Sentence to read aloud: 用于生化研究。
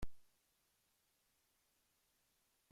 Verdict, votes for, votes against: rejected, 0, 2